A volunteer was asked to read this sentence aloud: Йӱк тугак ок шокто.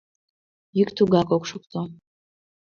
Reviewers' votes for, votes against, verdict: 2, 0, accepted